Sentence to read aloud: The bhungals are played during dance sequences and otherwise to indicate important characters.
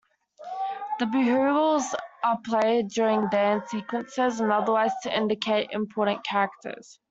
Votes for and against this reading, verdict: 0, 2, rejected